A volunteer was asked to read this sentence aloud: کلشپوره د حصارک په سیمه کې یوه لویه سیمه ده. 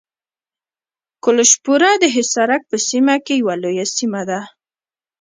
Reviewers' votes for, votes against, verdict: 0, 2, rejected